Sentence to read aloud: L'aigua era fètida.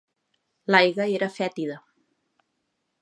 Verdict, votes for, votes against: rejected, 0, 2